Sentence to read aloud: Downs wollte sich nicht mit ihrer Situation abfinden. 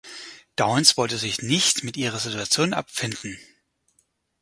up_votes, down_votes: 6, 0